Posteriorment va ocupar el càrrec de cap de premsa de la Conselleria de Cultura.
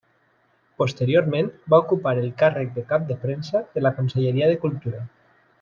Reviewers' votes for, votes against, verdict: 3, 0, accepted